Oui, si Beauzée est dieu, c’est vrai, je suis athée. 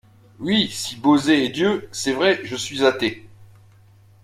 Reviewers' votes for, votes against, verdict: 2, 0, accepted